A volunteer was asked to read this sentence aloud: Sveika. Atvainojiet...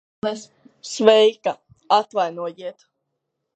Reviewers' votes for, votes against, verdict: 0, 2, rejected